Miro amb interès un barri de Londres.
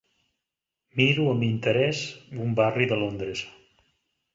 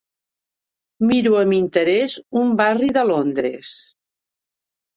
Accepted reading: first